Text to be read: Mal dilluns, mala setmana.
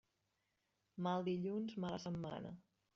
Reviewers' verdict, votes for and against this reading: rejected, 1, 2